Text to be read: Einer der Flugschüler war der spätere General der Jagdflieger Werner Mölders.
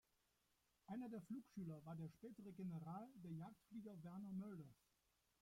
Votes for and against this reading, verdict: 0, 2, rejected